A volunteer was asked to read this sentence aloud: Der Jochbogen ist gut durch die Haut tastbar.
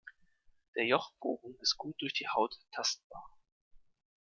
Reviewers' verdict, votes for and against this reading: accepted, 2, 0